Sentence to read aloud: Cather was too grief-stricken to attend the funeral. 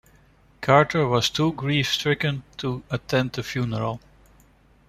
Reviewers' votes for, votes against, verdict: 1, 2, rejected